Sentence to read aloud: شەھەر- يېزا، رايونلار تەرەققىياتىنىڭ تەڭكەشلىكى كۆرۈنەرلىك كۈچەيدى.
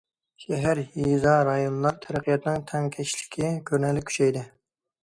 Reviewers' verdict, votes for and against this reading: accepted, 2, 1